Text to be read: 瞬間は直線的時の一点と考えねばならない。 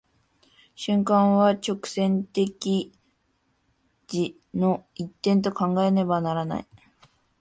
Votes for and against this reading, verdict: 0, 2, rejected